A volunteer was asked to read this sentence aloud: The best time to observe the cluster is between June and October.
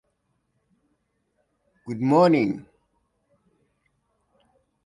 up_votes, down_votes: 0, 2